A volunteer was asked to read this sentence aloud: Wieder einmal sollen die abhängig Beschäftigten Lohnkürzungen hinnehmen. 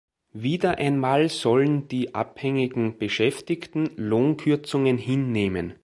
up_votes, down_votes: 1, 4